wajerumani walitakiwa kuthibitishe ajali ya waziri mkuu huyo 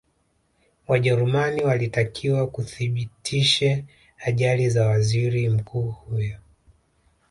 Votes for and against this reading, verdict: 2, 0, accepted